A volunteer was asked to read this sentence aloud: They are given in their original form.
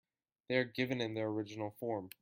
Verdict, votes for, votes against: accepted, 2, 1